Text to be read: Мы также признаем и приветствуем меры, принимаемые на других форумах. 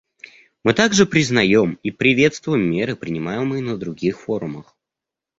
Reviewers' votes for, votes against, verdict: 2, 0, accepted